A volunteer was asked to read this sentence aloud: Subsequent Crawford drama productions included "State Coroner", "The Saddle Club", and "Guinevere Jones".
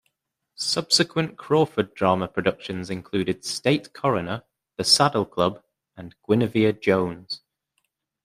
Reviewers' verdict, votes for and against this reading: accepted, 2, 0